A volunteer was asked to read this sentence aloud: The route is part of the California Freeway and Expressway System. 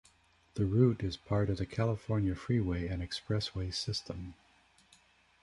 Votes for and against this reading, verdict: 0, 2, rejected